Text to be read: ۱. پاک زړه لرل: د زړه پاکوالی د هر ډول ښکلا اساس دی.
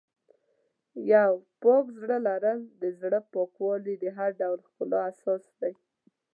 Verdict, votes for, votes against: rejected, 0, 2